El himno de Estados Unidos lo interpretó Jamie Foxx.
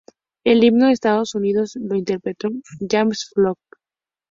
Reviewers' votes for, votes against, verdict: 0, 4, rejected